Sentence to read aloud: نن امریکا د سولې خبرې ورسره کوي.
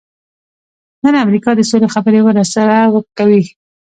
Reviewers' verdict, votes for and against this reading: accepted, 2, 0